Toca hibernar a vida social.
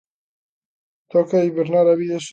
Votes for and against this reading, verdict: 0, 3, rejected